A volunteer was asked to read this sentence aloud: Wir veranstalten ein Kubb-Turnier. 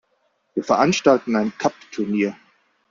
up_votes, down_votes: 2, 0